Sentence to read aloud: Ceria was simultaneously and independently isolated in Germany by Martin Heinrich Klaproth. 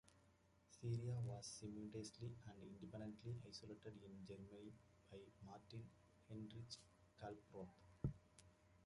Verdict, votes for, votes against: rejected, 0, 2